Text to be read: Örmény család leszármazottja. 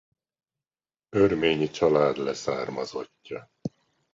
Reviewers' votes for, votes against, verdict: 2, 0, accepted